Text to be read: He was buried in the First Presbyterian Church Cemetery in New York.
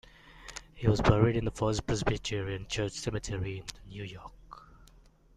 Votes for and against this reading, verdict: 2, 0, accepted